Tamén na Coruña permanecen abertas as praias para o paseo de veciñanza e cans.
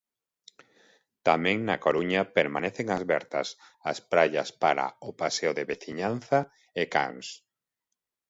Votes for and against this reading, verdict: 0, 2, rejected